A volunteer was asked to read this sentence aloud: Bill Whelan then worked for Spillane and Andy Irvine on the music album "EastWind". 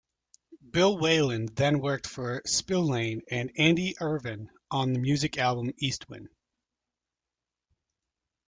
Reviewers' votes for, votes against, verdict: 2, 0, accepted